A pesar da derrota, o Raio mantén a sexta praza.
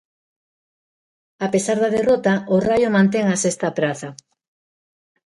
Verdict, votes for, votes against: rejected, 1, 2